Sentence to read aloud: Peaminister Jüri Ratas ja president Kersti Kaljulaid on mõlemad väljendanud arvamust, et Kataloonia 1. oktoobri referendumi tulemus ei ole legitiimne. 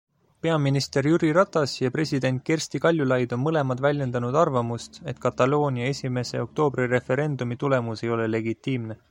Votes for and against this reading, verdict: 0, 2, rejected